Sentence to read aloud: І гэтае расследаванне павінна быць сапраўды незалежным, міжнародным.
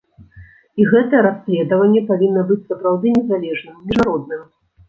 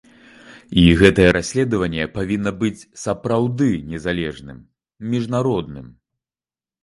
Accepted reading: second